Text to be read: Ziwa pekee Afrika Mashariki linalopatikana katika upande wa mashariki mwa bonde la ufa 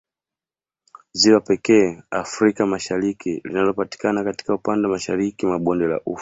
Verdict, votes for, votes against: accepted, 2, 1